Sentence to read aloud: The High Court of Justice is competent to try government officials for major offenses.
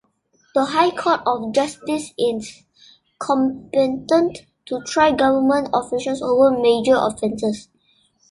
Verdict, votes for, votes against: rejected, 0, 2